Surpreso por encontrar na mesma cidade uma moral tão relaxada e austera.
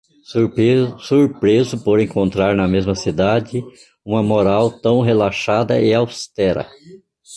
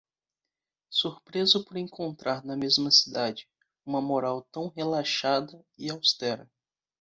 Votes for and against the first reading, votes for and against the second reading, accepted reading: 0, 2, 3, 0, second